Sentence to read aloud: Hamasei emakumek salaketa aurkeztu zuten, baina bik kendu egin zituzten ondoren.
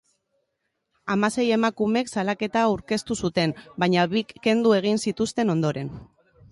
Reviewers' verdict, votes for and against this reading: accepted, 2, 1